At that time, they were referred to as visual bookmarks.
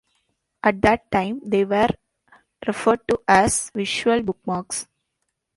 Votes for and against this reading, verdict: 2, 0, accepted